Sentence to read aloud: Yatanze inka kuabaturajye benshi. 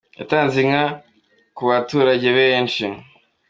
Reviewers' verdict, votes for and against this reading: accepted, 2, 0